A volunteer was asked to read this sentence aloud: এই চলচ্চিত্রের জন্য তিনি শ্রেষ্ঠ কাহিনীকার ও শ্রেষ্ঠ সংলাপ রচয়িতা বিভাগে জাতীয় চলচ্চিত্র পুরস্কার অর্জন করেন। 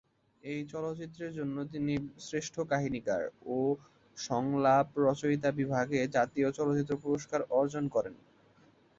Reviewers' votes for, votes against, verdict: 1, 2, rejected